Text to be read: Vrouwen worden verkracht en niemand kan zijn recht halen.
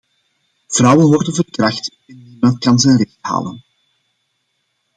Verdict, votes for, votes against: rejected, 0, 2